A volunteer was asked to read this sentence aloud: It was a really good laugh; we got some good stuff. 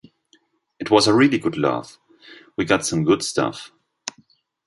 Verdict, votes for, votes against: accepted, 2, 0